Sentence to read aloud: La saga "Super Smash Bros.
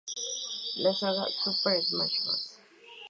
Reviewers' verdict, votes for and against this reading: accepted, 2, 0